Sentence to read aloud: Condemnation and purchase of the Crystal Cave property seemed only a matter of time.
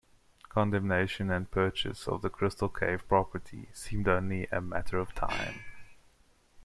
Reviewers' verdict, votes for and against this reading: accepted, 2, 0